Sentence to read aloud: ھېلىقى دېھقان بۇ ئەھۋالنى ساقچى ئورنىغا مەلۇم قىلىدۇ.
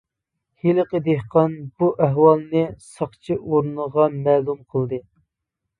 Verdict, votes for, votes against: rejected, 1, 2